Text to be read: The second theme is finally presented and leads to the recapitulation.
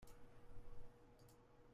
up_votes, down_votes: 0, 2